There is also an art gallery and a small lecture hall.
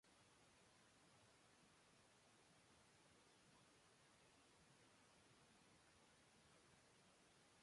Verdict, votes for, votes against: rejected, 0, 2